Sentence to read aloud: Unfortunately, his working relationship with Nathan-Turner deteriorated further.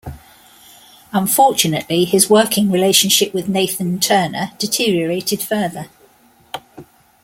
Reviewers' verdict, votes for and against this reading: accepted, 2, 0